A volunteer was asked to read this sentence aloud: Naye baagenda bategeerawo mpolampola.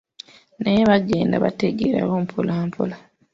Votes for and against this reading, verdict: 2, 0, accepted